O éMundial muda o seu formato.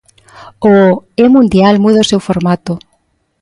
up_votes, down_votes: 2, 0